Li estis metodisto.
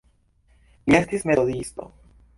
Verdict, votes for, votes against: accepted, 2, 0